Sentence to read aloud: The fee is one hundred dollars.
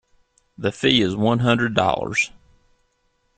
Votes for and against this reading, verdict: 2, 0, accepted